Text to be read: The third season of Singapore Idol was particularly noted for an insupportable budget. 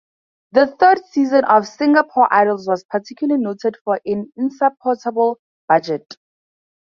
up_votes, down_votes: 0, 2